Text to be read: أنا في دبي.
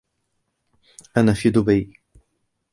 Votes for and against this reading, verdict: 2, 0, accepted